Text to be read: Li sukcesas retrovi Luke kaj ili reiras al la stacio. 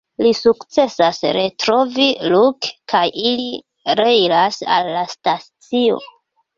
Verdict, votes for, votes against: rejected, 0, 2